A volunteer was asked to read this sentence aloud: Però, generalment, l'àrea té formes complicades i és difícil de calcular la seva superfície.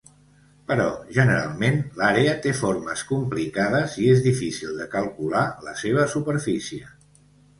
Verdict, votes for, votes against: accepted, 2, 0